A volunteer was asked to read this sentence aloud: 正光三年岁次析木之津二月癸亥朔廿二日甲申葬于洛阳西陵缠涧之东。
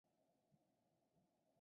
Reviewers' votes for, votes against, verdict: 2, 3, rejected